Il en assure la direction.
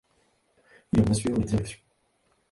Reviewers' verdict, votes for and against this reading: accepted, 2, 1